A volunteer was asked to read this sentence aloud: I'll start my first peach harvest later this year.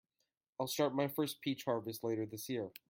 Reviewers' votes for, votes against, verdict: 2, 0, accepted